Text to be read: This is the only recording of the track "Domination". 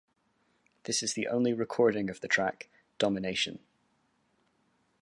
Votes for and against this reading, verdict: 2, 0, accepted